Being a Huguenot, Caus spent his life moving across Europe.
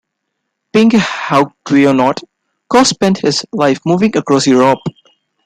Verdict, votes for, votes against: rejected, 0, 2